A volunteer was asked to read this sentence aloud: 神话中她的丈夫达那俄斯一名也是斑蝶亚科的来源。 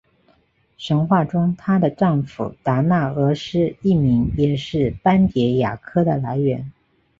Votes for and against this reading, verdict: 4, 0, accepted